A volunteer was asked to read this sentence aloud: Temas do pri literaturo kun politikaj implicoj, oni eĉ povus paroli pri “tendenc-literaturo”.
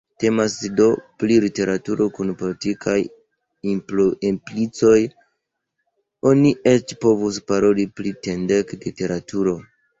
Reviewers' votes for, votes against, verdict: 2, 0, accepted